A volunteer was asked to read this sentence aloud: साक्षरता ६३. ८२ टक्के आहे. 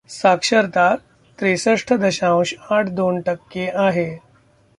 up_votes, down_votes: 0, 2